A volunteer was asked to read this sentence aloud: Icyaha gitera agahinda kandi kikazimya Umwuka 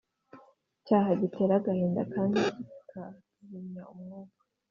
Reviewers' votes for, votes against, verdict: 2, 1, accepted